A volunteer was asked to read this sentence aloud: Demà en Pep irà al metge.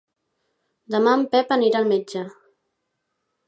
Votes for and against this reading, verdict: 0, 2, rejected